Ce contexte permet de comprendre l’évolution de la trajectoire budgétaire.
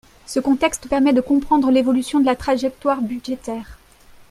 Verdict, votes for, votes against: accepted, 3, 2